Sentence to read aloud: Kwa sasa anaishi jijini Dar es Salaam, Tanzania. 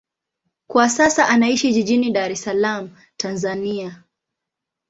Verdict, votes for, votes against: accepted, 2, 0